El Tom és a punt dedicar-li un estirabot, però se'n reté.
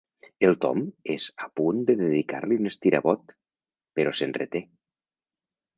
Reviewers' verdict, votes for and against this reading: rejected, 1, 2